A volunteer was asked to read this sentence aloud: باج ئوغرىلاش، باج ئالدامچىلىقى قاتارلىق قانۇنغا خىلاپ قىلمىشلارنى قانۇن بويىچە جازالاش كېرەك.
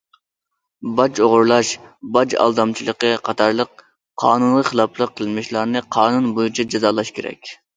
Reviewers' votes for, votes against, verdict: 1, 2, rejected